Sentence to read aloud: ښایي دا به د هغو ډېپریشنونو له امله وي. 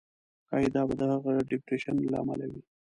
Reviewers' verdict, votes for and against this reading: rejected, 0, 2